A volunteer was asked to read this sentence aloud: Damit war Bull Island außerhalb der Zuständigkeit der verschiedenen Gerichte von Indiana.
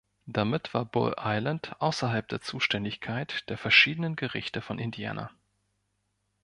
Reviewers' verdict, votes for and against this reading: accepted, 2, 0